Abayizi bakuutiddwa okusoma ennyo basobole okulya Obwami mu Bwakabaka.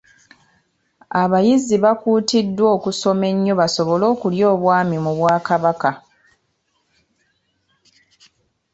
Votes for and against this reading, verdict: 2, 0, accepted